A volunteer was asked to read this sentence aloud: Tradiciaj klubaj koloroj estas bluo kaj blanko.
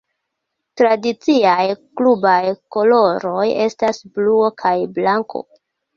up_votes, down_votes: 2, 0